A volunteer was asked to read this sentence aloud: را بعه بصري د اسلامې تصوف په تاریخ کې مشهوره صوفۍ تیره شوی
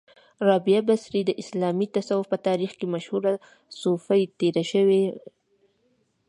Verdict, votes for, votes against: accepted, 2, 0